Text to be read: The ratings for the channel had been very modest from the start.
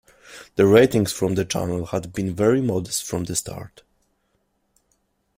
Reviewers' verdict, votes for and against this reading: rejected, 0, 2